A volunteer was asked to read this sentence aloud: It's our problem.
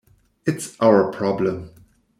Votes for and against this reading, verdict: 2, 0, accepted